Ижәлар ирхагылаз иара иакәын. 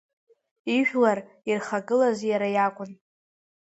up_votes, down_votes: 2, 0